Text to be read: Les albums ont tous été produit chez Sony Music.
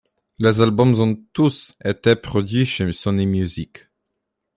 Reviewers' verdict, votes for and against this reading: accepted, 2, 0